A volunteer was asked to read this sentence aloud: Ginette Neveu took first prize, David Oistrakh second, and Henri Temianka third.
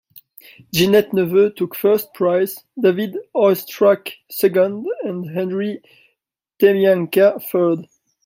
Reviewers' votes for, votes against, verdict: 2, 0, accepted